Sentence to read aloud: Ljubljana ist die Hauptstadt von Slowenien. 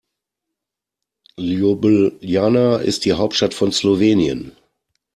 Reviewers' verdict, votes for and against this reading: accepted, 2, 0